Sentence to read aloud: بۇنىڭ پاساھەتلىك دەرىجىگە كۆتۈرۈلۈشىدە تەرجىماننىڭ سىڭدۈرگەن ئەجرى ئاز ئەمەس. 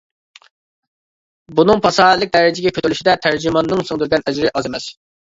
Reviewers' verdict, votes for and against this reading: accepted, 2, 0